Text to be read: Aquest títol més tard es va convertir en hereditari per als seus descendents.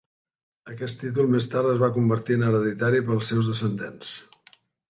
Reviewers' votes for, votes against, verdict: 2, 0, accepted